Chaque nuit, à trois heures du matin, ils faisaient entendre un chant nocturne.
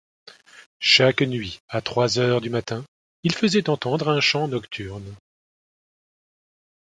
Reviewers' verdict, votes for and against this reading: accepted, 2, 0